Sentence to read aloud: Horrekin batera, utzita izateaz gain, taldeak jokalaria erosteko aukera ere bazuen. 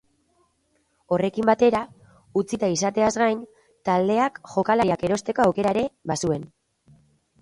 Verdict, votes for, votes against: rejected, 2, 2